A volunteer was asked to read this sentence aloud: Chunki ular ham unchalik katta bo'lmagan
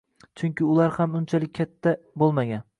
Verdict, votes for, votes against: accepted, 2, 0